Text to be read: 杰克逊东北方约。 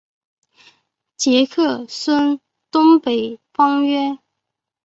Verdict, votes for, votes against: rejected, 1, 2